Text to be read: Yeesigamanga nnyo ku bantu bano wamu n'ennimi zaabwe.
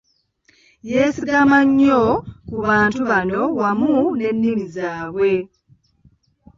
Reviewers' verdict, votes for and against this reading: accepted, 2, 1